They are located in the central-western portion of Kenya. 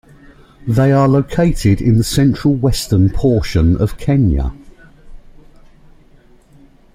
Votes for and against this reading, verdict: 0, 2, rejected